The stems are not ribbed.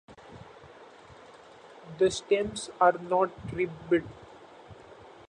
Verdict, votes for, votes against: rejected, 0, 2